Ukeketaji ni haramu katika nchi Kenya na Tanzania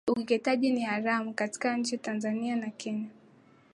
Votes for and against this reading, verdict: 0, 2, rejected